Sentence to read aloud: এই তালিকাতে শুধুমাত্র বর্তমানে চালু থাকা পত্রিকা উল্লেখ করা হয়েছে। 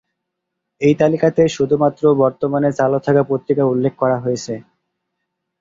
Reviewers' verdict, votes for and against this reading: rejected, 2, 3